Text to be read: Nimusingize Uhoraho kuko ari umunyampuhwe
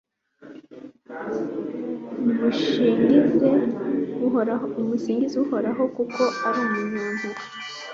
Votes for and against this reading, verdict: 2, 3, rejected